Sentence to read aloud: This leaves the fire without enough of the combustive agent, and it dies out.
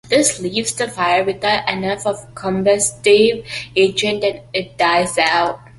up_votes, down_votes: 2, 1